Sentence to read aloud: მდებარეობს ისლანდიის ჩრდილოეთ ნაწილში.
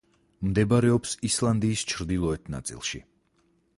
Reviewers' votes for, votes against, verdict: 4, 0, accepted